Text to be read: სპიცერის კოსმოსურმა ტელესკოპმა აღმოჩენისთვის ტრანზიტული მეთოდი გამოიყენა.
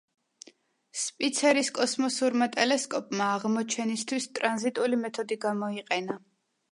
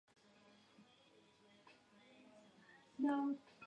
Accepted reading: first